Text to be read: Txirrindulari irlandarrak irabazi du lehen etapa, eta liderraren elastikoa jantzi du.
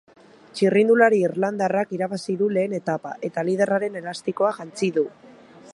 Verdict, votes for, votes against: accepted, 3, 0